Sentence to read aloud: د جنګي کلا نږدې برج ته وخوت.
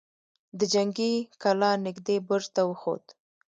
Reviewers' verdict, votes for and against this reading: accepted, 2, 1